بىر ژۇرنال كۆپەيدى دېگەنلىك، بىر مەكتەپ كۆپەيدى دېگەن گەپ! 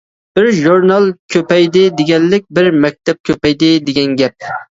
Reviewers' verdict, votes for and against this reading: accepted, 2, 0